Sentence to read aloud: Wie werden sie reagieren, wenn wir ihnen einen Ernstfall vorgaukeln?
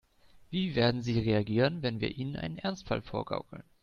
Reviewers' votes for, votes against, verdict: 2, 0, accepted